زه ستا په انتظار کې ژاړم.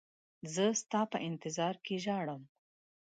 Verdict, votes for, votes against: accepted, 2, 0